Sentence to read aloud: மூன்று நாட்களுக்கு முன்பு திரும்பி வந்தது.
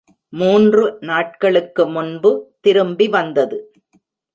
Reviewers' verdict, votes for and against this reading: accepted, 2, 0